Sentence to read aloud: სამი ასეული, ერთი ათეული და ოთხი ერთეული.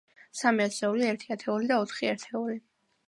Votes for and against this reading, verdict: 2, 0, accepted